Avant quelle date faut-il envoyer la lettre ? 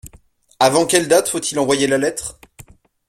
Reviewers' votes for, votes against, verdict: 2, 0, accepted